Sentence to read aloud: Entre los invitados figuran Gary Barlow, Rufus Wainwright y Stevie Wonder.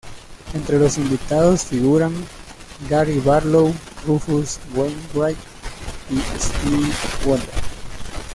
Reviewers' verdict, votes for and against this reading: rejected, 0, 2